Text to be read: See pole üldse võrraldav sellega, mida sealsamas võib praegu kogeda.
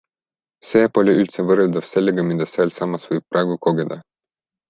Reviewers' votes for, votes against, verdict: 2, 0, accepted